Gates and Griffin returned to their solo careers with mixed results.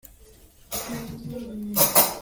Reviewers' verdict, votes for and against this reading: rejected, 0, 2